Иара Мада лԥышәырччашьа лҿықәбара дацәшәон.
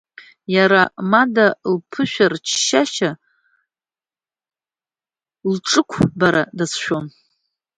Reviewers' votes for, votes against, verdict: 0, 2, rejected